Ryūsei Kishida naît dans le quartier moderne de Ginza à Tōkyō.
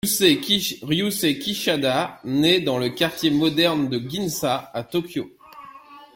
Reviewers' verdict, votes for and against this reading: rejected, 0, 2